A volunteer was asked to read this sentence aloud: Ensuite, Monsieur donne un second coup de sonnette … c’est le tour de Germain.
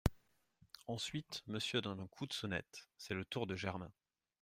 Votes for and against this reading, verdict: 1, 2, rejected